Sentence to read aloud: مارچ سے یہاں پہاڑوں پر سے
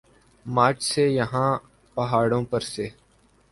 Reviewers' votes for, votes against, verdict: 3, 0, accepted